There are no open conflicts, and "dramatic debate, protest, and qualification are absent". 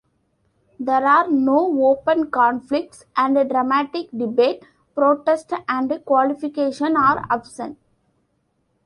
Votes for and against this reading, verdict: 1, 2, rejected